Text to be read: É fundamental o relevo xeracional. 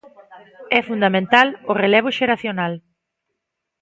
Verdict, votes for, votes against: rejected, 1, 2